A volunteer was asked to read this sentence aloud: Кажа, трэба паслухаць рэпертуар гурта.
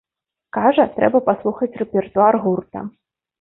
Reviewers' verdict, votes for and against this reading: rejected, 0, 2